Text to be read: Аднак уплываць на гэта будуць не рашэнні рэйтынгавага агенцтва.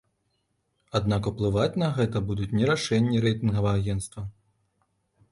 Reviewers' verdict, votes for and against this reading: rejected, 0, 2